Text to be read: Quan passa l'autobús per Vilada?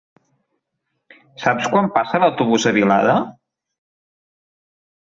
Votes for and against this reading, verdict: 0, 2, rejected